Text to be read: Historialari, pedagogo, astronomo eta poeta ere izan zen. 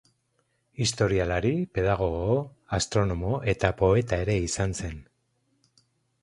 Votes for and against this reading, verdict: 2, 2, rejected